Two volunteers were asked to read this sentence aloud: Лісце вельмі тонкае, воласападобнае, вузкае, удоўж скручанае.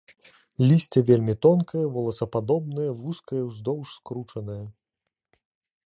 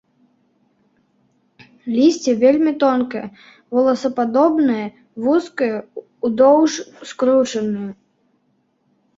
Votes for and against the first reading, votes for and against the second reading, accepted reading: 1, 2, 2, 1, second